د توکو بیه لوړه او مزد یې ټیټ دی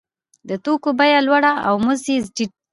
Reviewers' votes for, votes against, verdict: 2, 0, accepted